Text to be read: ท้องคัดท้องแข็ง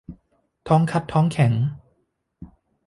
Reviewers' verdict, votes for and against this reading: accepted, 2, 0